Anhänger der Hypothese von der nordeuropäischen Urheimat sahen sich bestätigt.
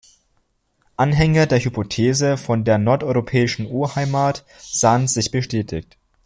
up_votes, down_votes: 2, 0